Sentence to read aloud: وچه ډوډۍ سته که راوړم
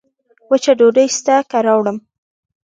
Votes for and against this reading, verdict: 2, 0, accepted